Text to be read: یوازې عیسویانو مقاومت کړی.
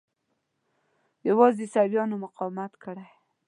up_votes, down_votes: 2, 0